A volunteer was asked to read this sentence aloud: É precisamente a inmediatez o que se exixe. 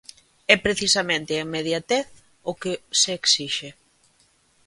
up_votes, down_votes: 2, 0